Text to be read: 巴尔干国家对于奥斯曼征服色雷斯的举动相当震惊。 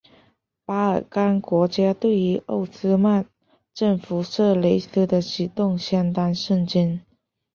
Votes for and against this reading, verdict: 5, 0, accepted